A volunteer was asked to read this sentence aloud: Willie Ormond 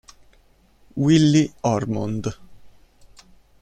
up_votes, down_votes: 2, 0